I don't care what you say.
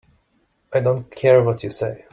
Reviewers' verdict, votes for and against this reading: accepted, 3, 0